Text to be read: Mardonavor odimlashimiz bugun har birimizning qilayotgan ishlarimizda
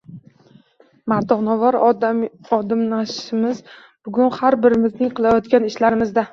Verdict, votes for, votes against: rejected, 0, 2